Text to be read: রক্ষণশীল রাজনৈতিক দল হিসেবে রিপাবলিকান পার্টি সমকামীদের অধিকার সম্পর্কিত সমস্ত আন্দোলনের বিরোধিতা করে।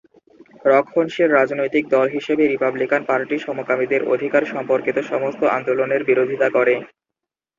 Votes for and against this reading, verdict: 0, 2, rejected